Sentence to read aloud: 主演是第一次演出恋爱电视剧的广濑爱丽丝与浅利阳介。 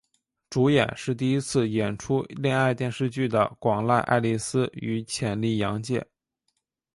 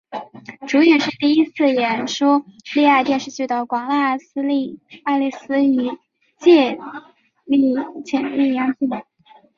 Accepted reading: first